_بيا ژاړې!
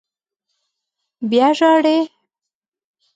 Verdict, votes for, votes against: accepted, 2, 0